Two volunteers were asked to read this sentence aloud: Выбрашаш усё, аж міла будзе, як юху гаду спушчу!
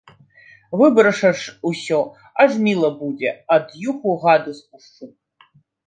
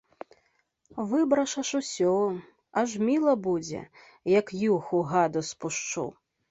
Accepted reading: second